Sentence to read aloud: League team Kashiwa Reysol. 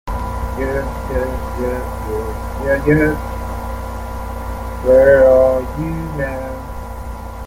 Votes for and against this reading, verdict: 0, 2, rejected